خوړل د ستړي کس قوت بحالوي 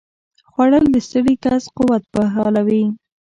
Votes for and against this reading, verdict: 0, 2, rejected